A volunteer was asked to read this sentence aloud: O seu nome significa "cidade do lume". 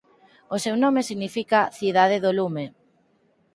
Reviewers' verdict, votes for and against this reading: accepted, 4, 0